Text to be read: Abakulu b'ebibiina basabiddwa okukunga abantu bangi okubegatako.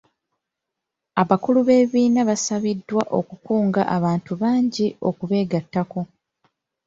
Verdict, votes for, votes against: rejected, 0, 2